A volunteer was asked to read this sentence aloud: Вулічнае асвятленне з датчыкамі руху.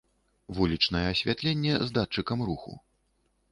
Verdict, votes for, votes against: rejected, 1, 2